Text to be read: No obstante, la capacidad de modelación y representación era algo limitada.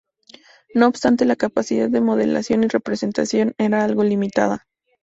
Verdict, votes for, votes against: rejected, 0, 2